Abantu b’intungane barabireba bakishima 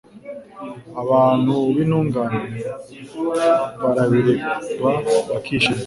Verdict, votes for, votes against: accepted, 2, 0